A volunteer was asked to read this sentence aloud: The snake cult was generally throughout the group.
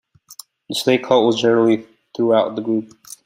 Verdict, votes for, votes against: accepted, 2, 0